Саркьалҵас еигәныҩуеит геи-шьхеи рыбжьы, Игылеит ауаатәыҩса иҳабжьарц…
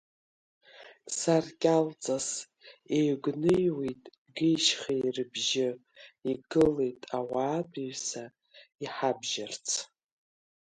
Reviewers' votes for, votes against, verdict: 3, 2, accepted